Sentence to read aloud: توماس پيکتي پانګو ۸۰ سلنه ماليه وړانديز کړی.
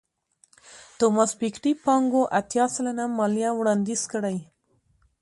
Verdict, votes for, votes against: rejected, 0, 2